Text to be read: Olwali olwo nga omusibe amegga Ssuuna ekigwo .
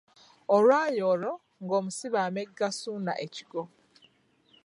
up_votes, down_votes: 2, 1